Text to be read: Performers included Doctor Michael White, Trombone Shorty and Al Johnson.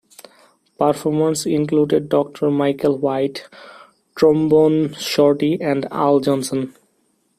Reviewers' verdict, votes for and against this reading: accepted, 2, 0